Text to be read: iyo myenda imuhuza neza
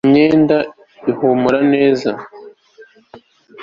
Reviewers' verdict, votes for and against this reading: rejected, 1, 2